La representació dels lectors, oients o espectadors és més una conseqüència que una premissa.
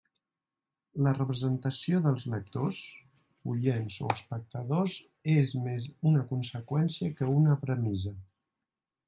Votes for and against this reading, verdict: 0, 2, rejected